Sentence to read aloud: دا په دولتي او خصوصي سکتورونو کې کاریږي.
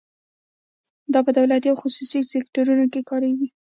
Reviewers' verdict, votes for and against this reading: rejected, 1, 2